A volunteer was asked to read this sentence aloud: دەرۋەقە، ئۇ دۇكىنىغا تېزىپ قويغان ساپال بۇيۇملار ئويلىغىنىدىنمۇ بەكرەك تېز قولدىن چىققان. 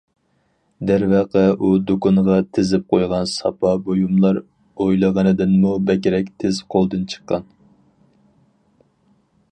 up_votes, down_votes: 2, 2